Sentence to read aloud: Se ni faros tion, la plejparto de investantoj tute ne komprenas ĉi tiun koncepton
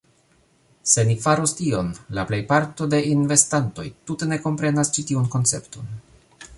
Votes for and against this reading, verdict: 2, 0, accepted